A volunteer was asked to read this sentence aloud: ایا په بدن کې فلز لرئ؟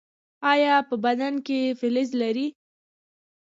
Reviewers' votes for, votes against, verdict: 1, 2, rejected